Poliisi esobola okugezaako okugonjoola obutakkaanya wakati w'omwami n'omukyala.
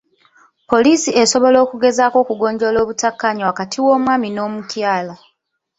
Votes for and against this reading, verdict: 2, 0, accepted